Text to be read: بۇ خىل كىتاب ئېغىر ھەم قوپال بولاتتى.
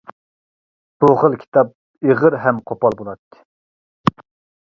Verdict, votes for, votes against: accepted, 2, 0